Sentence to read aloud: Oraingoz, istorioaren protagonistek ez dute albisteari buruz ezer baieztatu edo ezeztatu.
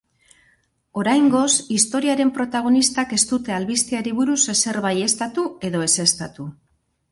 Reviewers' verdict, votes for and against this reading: rejected, 0, 2